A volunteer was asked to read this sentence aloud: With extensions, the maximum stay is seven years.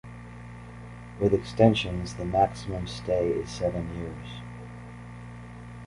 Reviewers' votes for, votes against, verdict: 2, 0, accepted